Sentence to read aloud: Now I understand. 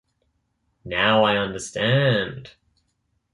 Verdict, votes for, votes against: accepted, 3, 0